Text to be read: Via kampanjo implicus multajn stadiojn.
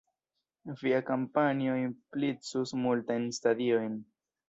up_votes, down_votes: 1, 2